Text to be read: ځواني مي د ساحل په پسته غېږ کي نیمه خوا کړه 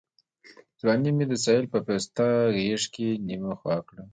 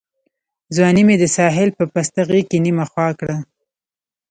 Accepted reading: first